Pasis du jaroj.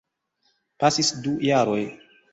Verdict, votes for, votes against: accepted, 2, 0